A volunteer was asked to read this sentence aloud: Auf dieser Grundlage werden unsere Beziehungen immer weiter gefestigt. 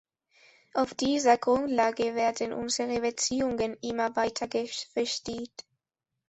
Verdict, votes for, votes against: rejected, 1, 2